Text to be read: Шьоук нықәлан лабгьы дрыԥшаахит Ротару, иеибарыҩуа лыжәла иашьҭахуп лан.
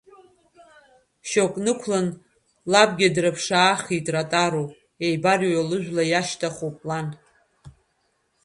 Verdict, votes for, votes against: rejected, 1, 2